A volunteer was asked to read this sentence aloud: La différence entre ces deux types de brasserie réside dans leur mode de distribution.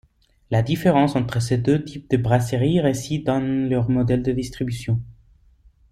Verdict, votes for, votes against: rejected, 0, 2